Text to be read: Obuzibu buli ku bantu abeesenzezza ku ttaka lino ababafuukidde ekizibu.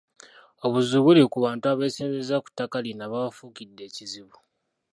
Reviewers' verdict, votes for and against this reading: rejected, 1, 2